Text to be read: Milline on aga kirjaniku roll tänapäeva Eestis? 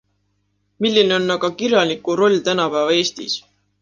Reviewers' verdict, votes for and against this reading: accepted, 2, 0